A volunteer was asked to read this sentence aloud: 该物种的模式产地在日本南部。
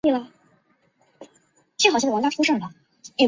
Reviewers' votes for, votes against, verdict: 0, 7, rejected